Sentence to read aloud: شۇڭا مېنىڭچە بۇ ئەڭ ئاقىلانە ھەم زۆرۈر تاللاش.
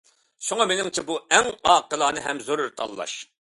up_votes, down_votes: 2, 0